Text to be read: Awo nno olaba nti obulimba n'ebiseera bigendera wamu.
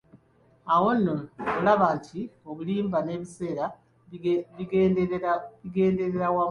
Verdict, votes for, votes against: rejected, 1, 3